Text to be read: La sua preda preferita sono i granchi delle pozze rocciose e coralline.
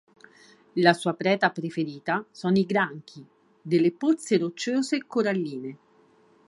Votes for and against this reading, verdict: 4, 0, accepted